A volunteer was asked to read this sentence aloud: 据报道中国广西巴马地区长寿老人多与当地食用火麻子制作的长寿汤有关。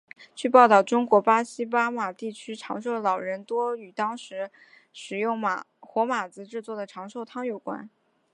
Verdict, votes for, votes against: accepted, 2, 0